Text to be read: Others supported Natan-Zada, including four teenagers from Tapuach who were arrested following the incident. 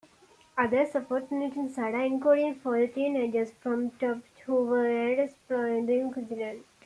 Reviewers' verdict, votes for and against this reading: rejected, 1, 2